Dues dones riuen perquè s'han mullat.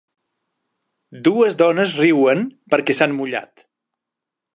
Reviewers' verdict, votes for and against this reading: accepted, 3, 0